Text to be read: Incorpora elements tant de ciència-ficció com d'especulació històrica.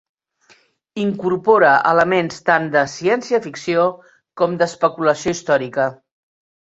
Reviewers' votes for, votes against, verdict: 5, 0, accepted